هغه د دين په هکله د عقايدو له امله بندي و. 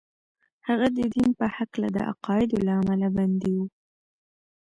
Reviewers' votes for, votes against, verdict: 1, 2, rejected